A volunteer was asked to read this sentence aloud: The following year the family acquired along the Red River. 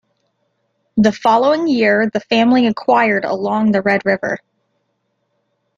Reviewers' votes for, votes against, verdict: 2, 0, accepted